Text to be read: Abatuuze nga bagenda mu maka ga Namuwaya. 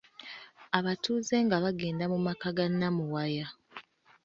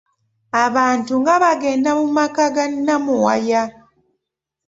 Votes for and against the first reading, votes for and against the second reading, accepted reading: 2, 0, 1, 2, first